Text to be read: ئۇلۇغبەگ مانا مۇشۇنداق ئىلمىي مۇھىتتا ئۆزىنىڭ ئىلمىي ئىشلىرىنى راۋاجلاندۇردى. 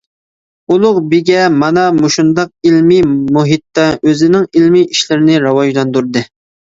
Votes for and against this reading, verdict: 0, 2, rejected